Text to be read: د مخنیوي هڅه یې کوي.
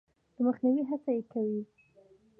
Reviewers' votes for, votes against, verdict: 2, 1, accepted